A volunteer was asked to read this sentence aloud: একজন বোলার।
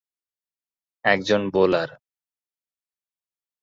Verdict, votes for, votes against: accepted, 4, 2